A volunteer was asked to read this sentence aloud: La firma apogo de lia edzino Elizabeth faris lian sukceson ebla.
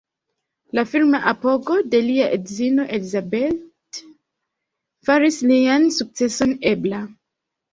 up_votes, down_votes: 1, 2